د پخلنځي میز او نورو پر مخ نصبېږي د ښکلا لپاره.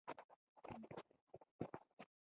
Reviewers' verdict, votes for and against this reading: rejected, 0, 2